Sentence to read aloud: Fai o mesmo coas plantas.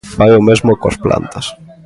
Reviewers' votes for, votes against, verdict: 3, 0, accepted